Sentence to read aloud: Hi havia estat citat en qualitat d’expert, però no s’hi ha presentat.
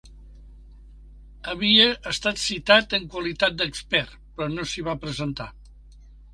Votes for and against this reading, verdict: 0, 4, rejected